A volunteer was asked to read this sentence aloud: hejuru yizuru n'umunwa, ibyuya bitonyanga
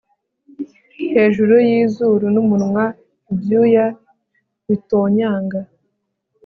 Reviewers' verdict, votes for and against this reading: accepted, 2, 0